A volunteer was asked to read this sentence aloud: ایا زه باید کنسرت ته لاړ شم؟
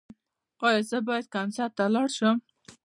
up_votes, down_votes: 2, 0